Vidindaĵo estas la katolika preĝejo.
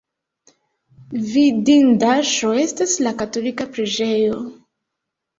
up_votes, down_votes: 2, 0